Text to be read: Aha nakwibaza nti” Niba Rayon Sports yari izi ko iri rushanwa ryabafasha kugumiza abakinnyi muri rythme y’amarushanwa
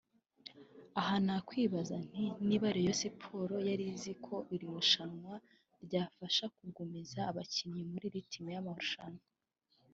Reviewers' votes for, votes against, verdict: 0, 2, rejected